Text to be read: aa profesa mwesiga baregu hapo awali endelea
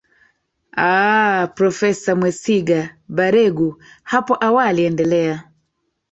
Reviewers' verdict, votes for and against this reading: rejected, 1, 2